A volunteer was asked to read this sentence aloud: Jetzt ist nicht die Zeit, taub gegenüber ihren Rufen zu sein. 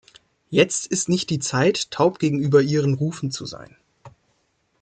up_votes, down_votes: 2, 0